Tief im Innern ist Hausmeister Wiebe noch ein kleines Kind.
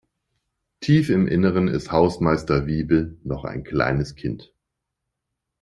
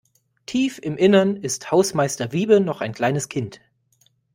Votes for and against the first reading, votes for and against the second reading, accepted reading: 0, 2, 2, 0, second